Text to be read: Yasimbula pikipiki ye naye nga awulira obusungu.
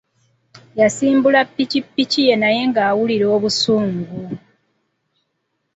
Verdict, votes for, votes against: accepted, 2, 1